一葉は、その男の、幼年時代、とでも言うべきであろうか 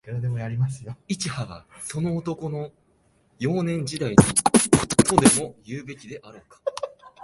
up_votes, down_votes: 0, 2